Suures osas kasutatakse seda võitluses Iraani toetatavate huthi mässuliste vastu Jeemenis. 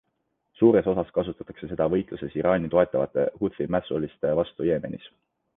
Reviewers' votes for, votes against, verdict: 2, 0, accepted